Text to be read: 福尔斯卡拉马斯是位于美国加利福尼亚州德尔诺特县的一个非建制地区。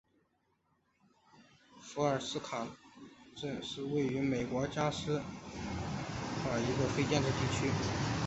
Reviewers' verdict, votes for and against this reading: rejected, 0, 2